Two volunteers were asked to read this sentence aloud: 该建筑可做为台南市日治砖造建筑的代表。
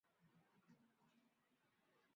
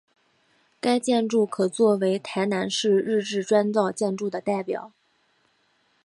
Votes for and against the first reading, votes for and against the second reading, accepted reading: 0, 2, 8, 1, second